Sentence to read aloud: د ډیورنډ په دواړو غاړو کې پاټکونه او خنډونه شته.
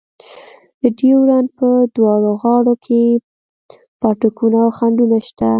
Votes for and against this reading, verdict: 2, 0, accepted